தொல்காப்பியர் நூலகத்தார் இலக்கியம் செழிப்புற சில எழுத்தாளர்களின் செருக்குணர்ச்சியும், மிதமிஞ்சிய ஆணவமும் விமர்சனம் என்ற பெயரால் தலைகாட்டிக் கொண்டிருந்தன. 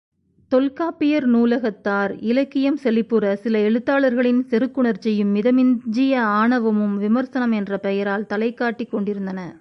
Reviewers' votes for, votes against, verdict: 2, 0, accepted